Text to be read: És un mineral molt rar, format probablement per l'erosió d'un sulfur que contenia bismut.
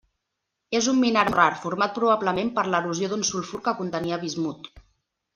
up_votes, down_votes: 1, 2